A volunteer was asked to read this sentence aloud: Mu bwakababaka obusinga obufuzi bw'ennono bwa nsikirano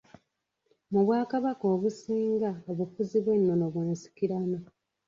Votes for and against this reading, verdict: 1, 2, rejected